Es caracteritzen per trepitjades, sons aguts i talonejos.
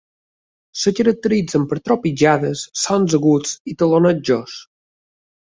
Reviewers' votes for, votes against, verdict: 1, 2, rejected